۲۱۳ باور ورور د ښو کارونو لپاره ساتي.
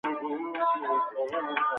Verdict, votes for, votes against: rejected, 0, 2